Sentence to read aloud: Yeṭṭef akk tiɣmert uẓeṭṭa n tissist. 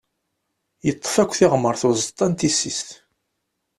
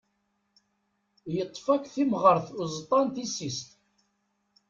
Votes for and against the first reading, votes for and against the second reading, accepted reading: 2, 0, 1, 2, first